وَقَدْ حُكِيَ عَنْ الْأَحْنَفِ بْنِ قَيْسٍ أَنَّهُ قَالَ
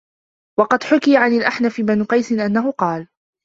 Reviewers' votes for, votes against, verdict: 1, 2, rejected